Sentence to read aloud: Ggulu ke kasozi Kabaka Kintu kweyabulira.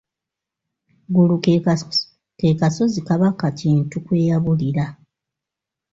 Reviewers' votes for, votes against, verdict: 0, 2, rejected